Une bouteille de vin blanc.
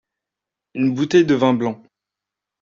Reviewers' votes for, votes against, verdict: 2, 0, accepted